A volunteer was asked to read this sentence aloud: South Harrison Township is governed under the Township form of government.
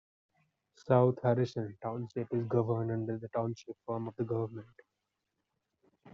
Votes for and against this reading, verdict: 2, 0, accepted